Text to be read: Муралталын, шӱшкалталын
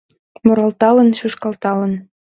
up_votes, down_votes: 2, 0